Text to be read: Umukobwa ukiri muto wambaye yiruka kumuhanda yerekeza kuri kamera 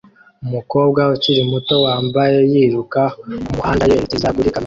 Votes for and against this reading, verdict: 0, 2, rejected